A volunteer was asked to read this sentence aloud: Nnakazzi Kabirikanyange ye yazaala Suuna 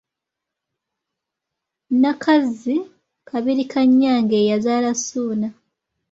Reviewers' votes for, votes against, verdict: 2, 1, accepted